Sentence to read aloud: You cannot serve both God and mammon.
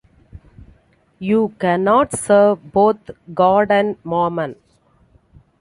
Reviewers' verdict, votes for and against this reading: accepted, 2, 0